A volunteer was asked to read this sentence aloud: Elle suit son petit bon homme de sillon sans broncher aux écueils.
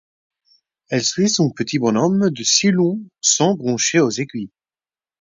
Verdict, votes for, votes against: rejected, 0, 4